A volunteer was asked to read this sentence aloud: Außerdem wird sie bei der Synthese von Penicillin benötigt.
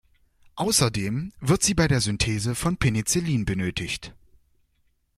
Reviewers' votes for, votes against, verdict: 2, 0, accepted